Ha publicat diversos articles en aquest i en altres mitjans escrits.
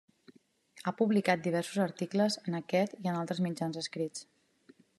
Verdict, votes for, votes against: accepted, 3, 0